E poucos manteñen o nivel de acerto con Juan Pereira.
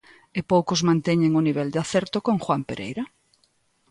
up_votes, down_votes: 2, 0